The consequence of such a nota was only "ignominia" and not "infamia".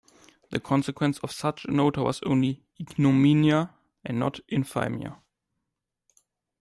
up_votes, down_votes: 1, 2